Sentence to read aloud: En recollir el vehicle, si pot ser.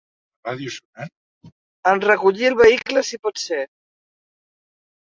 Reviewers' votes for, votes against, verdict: 1, 2, rejected